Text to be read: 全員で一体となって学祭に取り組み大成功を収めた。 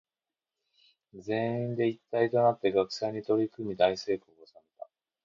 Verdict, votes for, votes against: accepted, 2, 1